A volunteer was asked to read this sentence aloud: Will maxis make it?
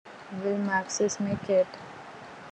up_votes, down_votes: 2, 0